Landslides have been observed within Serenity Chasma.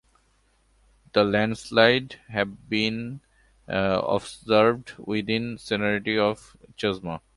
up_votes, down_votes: 0, 2